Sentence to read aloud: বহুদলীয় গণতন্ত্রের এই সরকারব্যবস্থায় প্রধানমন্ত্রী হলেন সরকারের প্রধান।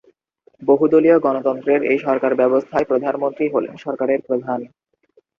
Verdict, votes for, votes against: rejected, 0, 2